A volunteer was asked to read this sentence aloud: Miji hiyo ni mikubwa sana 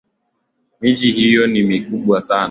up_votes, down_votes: 2, 0